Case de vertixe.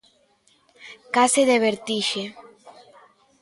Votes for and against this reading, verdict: 2, 0, accepted